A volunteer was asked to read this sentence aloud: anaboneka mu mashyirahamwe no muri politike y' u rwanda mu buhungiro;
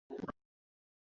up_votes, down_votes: 1, 2